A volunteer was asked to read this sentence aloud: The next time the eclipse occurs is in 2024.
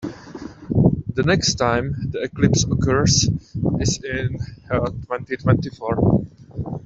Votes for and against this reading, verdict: 0, 2, rejected